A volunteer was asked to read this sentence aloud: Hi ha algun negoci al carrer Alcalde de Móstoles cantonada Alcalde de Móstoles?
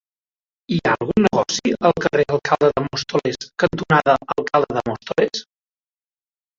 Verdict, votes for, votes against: rejected, 0, 2